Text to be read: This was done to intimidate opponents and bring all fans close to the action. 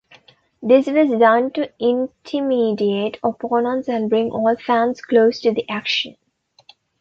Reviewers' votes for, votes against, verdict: 0, 2, rejected